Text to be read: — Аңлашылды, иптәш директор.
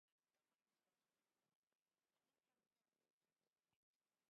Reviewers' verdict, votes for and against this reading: rejected, 1, 2